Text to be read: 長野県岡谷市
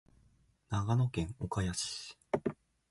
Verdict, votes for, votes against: accepted, 2, 1